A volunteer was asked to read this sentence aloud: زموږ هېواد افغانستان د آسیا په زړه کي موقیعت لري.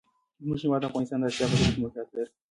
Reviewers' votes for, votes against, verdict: 0, 2, rejected